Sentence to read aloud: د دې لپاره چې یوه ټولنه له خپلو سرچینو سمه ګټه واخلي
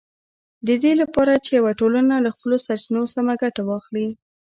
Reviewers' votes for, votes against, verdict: 1, 2, rejected